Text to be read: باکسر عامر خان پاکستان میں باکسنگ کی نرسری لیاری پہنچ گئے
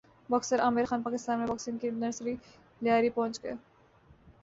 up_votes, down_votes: 5, 0